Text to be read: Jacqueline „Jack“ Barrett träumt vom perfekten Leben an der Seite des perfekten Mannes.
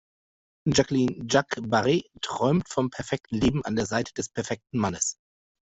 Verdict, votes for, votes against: rejected, 0, 2